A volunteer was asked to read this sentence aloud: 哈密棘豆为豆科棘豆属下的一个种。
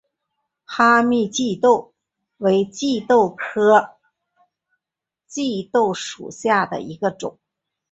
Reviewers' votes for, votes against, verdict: 5, 1, accepted